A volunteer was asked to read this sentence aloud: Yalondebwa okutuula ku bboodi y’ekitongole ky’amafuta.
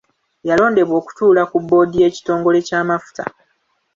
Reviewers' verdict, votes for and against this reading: accepted, 2, 1